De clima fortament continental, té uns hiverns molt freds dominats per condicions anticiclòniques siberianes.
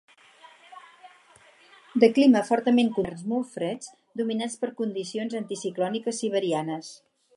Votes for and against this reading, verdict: 2, 4, rejected